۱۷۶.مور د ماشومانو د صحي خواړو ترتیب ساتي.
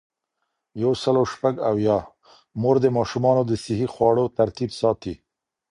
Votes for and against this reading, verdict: 0, 2, rejected